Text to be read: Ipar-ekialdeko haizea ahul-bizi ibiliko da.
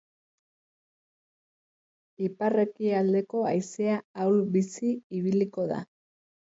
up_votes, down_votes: 2, 0